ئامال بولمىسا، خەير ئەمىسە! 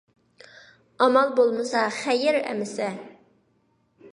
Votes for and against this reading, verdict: 2, 0, accepted